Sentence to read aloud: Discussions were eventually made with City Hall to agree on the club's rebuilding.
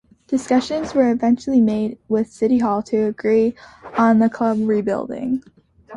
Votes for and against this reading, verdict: 0, 2, rejected